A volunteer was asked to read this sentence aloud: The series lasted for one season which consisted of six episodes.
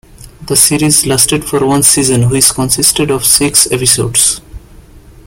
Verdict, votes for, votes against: accepted, 2, 0